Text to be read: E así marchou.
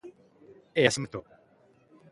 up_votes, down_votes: 0, 2